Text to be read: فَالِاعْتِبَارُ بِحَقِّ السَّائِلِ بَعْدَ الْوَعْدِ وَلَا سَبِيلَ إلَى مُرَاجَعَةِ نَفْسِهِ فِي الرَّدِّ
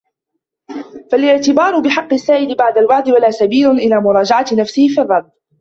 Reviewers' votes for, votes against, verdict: 2, 1, accepted